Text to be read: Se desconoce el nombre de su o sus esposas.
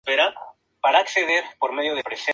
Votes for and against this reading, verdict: 0, 2, rejected